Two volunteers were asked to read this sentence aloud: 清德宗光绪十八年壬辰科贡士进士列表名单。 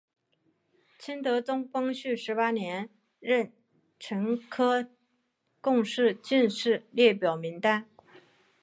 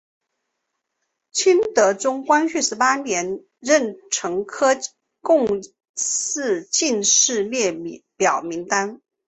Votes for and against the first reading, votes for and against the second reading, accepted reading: 4, 0, 1, 2, first